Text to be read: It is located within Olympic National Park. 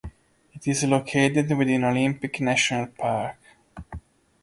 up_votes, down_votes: 1, 2